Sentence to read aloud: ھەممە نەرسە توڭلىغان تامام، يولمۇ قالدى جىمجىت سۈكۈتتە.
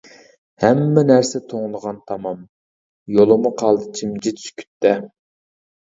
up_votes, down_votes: 1, 2